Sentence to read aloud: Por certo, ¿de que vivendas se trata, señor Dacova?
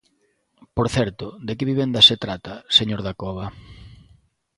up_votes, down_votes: 2, 0